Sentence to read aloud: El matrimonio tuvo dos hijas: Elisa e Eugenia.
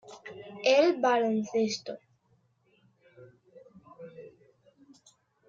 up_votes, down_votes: 0, 2